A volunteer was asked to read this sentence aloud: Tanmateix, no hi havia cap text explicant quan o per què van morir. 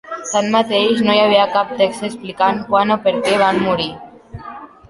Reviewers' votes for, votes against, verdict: 1, 2, rejected